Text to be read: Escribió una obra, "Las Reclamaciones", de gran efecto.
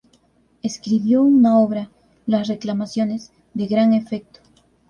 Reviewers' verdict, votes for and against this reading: accepted, 2, 0